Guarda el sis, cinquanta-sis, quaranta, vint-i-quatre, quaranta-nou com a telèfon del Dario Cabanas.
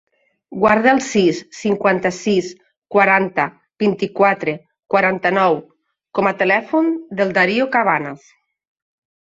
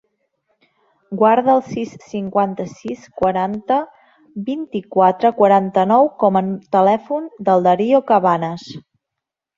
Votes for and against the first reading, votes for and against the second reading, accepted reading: 2, 0, 1, 2, first